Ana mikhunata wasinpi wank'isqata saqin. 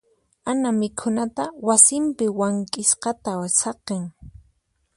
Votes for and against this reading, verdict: 4, 0, accepted